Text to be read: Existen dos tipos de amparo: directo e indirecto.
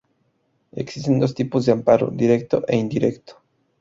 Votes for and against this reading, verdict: 0, 2, rejected